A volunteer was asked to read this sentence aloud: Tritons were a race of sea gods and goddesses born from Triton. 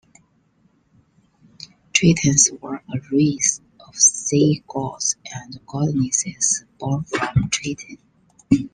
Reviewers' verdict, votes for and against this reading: rejected, 0, 2